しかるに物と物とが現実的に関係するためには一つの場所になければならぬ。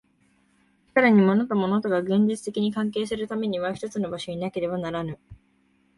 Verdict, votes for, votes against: accepted, 3, 0